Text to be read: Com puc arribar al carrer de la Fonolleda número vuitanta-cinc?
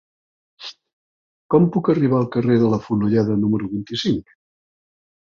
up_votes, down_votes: 1, 2